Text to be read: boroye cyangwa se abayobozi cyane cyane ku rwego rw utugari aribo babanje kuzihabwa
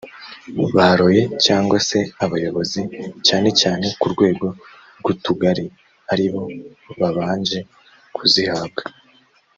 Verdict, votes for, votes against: rejected, 1, 2